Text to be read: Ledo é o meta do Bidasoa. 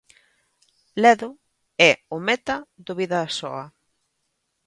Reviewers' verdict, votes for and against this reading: accepted, 3, 1